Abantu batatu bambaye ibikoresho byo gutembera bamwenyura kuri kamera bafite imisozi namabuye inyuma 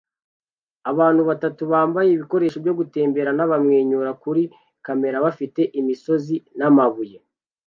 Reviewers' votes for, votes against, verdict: 0, 2, rejected